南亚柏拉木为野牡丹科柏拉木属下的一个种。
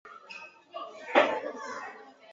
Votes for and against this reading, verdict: 4, 8, rejected